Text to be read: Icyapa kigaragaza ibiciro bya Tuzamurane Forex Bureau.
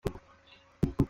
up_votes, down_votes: 0, 3